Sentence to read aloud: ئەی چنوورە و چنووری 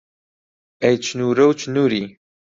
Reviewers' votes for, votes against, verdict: 0, 2, rejected